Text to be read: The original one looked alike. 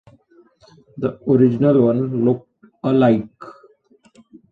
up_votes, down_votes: 2, 1